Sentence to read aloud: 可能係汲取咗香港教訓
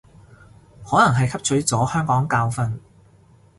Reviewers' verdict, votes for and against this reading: accepted, 2, 0